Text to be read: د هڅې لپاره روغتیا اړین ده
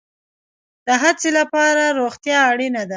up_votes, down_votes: 2, 1